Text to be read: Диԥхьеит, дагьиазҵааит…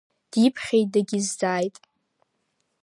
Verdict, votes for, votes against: rejected, 0, 2